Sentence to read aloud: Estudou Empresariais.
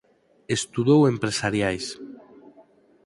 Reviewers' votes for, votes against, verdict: 4, 0, accepted